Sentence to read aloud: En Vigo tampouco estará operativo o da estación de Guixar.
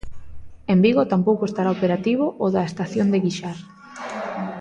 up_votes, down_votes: 2, 0